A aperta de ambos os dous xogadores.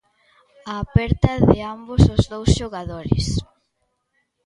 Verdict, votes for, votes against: accepted, 2, 1